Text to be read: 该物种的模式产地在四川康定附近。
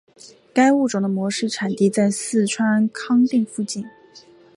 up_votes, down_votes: 4, 0